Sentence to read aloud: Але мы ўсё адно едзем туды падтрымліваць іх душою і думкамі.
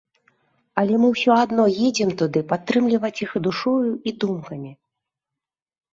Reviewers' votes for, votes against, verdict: 2, 0, accepted